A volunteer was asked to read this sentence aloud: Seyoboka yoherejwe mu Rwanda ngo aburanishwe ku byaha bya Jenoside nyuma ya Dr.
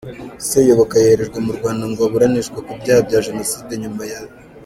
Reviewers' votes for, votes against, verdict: 0, 2, rejected